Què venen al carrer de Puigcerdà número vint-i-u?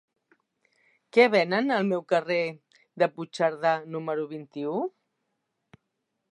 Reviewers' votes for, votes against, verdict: 3, 0, accepted